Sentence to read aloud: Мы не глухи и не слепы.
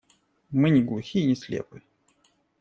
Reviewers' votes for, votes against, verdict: 2, 0, accepted